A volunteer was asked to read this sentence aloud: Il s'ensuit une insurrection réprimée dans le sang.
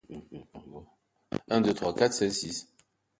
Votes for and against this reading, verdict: 0, 2, rejected